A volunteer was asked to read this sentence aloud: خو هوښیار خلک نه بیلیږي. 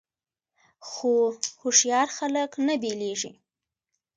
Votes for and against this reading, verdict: 2, 0, accepted